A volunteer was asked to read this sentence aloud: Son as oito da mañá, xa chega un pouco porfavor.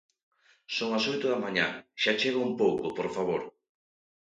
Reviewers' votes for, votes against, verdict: 2, 0, accepted